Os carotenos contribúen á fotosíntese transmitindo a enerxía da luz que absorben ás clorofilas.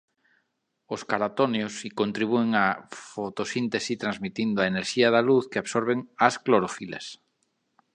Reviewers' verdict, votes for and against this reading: rejected, 1, 2